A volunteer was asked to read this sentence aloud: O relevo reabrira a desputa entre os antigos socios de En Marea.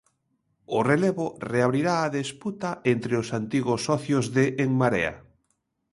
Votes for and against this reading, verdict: 0, 3, rejected